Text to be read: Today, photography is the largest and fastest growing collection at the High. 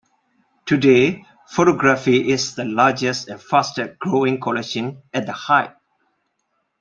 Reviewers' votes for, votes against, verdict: 2, 1, accepted